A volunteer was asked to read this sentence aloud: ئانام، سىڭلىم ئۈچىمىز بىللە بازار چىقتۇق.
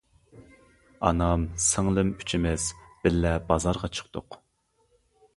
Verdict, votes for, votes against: rejected, 0, 2